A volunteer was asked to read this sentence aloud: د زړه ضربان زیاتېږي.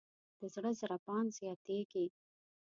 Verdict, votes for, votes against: rejected, 1, 2